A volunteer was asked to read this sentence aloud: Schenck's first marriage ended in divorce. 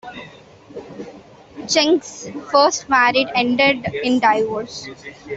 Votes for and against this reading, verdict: 2, 0, accepted